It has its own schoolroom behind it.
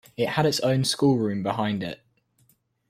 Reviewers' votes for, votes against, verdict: 0, 2, rejected